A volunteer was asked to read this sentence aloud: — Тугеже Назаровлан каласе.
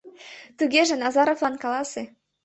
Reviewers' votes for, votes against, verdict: 2, 0, accepted